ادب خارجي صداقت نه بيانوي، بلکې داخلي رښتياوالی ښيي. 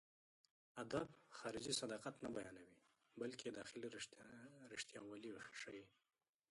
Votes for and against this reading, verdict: 0, 2, rejected